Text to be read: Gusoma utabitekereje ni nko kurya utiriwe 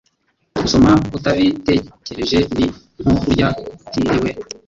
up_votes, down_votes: 0, 2